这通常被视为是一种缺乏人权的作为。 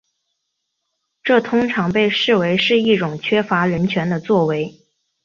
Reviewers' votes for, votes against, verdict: 2, 0, accepted